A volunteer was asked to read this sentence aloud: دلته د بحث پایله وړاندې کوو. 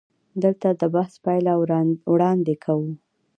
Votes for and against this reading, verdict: 2, 0, accepted